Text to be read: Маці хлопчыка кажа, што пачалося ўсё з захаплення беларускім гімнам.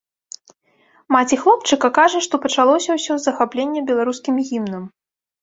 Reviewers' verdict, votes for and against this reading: accepted, 2, 0